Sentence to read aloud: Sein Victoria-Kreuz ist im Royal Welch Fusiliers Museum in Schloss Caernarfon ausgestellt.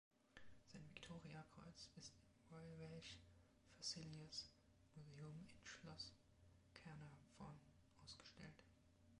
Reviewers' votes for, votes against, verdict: 1, 2, rejected